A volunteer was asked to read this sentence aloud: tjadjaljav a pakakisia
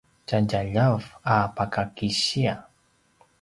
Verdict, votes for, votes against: accepted, 2, 0